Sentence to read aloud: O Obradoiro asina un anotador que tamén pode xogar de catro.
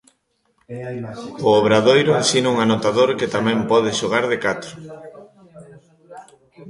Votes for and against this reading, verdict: 0, 2, rejected